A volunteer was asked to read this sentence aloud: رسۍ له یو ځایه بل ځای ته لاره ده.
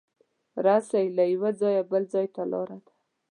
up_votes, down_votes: 0, 2